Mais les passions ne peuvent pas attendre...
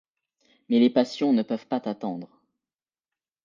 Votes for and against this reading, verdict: 0, 2, rejected